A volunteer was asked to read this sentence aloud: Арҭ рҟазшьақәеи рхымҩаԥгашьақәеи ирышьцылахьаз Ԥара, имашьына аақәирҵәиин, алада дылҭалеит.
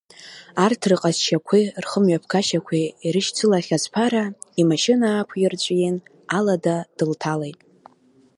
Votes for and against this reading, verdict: 2, 0, accepted